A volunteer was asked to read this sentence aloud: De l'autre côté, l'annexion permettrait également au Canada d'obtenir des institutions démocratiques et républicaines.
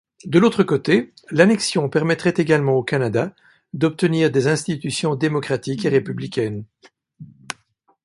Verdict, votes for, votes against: accepted, 2, 0